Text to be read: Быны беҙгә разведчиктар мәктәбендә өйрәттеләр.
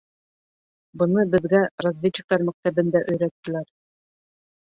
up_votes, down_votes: 2, 0